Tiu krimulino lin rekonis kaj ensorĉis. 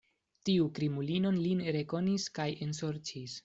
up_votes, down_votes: 2, 0